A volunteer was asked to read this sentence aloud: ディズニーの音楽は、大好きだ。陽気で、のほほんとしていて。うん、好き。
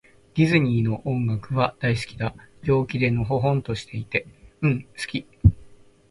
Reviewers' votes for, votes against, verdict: 2, 0, accepted